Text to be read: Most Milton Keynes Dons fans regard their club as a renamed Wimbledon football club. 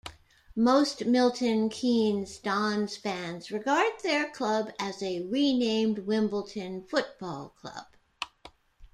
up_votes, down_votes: 2, 0